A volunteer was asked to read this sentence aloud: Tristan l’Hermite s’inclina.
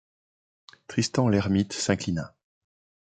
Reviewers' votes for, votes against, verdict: 2, 0, accepted